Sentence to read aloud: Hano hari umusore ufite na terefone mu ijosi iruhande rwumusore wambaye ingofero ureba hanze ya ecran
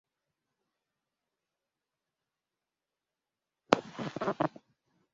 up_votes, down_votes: 0, 2